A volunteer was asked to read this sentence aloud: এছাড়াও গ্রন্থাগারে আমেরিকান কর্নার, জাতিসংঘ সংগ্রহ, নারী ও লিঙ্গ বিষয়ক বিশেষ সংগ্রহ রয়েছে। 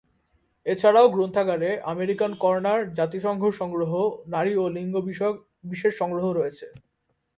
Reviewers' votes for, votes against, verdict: 4, 0, accepted